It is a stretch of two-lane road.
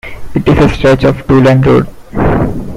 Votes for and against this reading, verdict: 1, 2, rejected